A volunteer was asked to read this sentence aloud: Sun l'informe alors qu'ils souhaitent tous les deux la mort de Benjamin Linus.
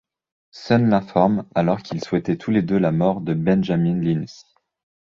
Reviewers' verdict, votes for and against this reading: rejected, 1, 2